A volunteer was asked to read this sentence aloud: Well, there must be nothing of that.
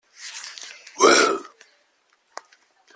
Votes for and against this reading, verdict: 0, 2, rejected